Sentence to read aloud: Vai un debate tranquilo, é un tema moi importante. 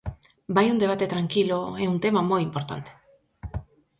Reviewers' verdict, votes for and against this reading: accepted, 4, 0